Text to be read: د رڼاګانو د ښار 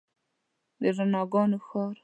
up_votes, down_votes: 1, 2